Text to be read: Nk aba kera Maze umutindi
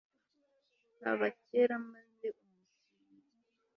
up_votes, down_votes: 2, 0